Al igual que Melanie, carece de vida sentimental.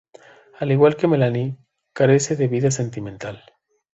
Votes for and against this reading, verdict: 2, 0, accepted